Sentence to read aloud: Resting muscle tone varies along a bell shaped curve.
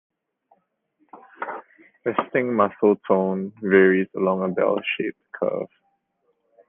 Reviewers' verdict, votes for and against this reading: rejected, 0, 3